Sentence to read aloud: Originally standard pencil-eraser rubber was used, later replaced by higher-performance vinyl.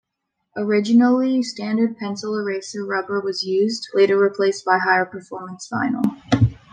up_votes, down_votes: 2, 1